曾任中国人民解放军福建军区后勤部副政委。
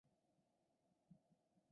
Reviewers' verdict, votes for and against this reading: rejected, 0, 3